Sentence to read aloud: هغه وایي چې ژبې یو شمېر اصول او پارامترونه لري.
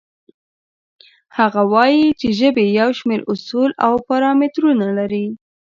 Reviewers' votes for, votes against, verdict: 2, 0, accepted